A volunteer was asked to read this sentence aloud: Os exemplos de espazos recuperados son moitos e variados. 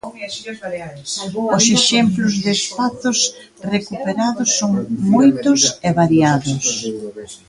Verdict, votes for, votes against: rejected, 0, 2